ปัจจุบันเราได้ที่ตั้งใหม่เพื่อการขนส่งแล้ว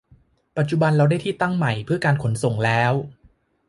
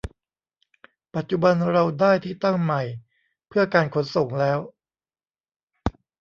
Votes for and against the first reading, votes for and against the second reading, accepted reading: 2, 0, 1, 2, first